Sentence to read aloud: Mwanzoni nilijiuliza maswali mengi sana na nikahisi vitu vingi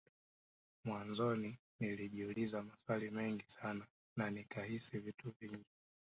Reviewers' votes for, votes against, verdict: 2, 3, rejected